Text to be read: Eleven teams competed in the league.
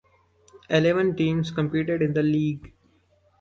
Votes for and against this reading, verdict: 2, 0, accepted